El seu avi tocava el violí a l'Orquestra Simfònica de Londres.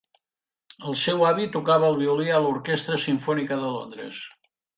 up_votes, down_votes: 3, 0